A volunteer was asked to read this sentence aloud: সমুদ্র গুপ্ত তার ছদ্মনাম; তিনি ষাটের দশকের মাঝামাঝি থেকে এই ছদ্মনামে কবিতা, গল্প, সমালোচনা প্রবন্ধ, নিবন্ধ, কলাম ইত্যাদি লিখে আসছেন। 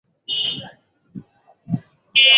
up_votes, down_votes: 0, 4